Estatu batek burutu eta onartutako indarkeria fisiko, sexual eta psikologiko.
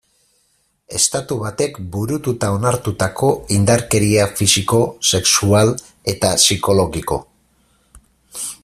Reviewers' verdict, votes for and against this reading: accepted, 4, 0